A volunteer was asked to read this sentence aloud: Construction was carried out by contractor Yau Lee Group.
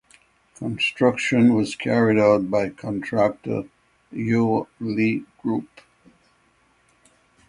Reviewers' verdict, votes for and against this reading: rejected, 3, 3